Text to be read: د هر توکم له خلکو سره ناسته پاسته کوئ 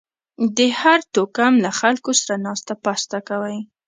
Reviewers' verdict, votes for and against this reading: accepted, 2, 0